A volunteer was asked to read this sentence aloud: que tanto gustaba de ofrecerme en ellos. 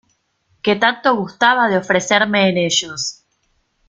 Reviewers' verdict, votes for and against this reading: accepted, 2, 0